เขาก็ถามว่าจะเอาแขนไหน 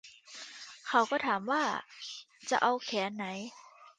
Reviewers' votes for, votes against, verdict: 2, 0, accepted